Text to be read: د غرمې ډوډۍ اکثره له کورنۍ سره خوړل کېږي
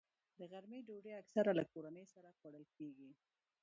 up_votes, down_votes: 2, 0